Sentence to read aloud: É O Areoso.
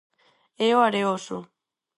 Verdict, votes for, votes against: accepted, 4, 0